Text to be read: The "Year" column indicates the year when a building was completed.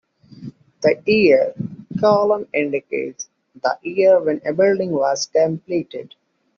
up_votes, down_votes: 1, 2